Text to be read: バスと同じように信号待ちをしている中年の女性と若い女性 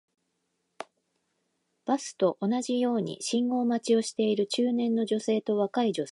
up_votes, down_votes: 1, 2